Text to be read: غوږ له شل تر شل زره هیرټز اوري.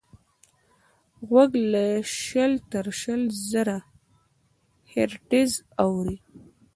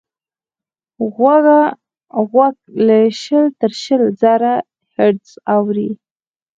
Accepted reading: first